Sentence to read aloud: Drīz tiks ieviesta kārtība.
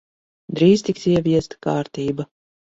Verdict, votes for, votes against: accepted, 2, 0